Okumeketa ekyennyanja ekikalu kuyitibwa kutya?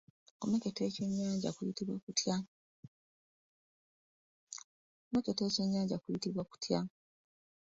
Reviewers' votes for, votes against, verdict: 0, 2, rejected